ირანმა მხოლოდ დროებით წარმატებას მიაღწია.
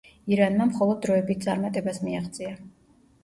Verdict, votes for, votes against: accepted, 2, 0